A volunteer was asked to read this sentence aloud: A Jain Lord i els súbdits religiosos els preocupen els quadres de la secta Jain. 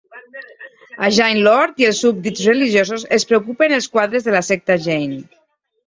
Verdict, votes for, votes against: accepted, 2, 0